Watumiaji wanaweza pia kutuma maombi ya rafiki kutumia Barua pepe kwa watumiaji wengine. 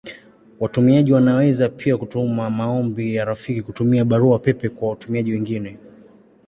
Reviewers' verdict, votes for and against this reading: accepted, 2, 0